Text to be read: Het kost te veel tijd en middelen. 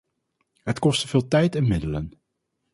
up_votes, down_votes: 0, 2